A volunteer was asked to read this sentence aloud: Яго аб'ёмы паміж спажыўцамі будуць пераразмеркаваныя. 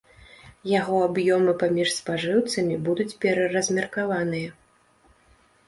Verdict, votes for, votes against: rejected, 0, 2